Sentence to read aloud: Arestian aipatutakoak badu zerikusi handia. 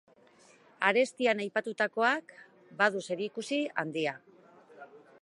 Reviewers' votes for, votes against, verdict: 3, 0, accepted